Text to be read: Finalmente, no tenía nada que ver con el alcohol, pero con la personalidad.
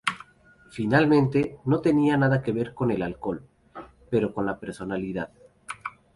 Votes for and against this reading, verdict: 2, 0, accepted